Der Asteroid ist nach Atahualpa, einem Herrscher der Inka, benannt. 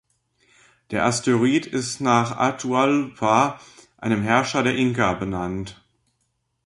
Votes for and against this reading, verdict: 1, 2, rejected